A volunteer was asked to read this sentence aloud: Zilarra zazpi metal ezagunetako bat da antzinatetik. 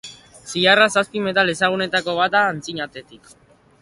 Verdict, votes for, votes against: accepted, 2, 0